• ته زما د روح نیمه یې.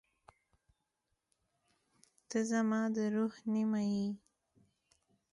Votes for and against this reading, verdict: 3, 0, accepted